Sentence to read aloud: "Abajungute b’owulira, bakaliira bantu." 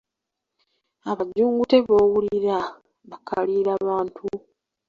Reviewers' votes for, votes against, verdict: 0, 3, rejected